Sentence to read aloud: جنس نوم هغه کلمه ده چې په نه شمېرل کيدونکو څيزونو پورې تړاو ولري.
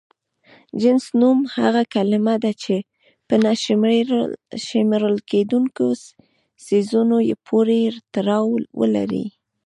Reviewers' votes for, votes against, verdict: 2, 0, accepted